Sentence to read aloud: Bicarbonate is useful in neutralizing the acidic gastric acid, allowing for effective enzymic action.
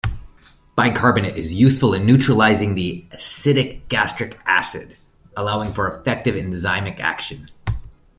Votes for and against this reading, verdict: 2, 0, accepted